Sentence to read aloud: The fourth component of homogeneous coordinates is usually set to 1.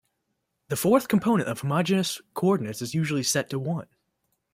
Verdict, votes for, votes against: rejected, 0, 2